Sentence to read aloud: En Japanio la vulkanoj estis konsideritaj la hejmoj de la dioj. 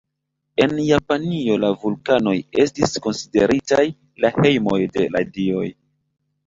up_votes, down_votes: 2, 0